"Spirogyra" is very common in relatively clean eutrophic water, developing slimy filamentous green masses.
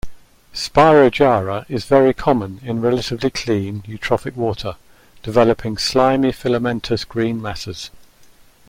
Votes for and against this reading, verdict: 2, 0, accepted